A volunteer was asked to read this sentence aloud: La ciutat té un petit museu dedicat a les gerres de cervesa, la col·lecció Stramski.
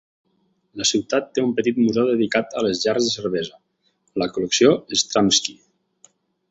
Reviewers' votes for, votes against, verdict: 4, 0, accepted